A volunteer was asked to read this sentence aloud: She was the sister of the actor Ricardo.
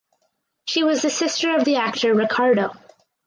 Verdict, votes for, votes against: accepted, 4, 0